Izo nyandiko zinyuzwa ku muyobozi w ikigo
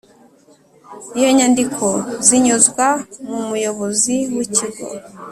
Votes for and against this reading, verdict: 0, 2, rejected